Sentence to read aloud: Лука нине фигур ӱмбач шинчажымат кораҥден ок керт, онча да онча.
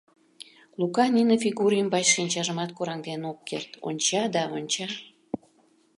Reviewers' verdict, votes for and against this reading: accepted, 2, 0